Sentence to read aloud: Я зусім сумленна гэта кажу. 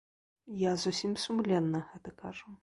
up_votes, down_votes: 1, 2